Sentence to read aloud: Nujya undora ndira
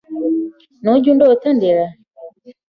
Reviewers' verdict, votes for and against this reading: rejected, 0, 2